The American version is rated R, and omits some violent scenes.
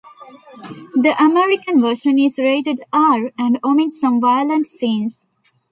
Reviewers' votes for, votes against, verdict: 2, 1, accepted